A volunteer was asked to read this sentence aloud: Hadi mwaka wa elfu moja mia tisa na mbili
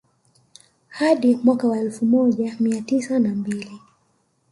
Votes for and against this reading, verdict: 1, 2, rejected